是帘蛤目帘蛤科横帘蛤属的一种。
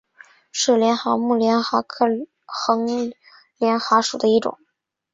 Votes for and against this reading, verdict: 6, 0, accepted